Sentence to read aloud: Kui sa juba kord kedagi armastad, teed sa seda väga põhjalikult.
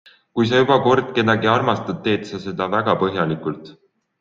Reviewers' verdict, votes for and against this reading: accepted, 2, 0